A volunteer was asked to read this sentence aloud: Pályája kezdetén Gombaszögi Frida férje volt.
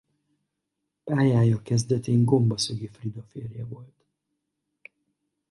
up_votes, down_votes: 2, 4